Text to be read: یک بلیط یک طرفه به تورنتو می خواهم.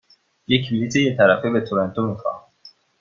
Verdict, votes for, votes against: accepted, 2, 1